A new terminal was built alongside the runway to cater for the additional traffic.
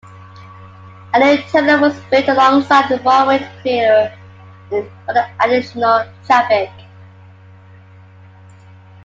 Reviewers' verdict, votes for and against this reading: rejected, 1, 2